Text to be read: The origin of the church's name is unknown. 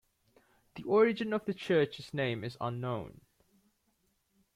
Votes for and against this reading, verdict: 2, 0, accepted